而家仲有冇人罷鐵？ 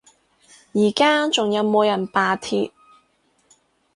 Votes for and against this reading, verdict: 4, 0, accepted